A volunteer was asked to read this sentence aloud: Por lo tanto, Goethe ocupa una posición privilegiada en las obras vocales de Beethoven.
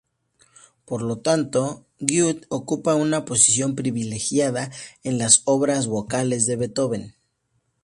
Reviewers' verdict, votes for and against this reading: accepted, 2, 0